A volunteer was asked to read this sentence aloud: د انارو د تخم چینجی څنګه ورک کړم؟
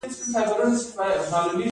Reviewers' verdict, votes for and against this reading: accepted, 2, 0